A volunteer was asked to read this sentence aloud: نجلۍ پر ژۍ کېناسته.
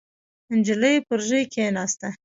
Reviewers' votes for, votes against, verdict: 2, 1, accepted